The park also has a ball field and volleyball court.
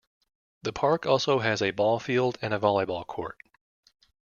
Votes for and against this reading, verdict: 0, 2, rejected